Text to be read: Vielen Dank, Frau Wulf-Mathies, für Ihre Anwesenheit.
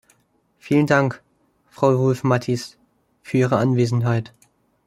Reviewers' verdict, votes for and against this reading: accepted, 2, 0